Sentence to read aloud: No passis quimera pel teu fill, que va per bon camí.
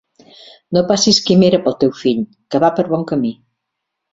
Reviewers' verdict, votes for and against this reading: accepted, 6, 0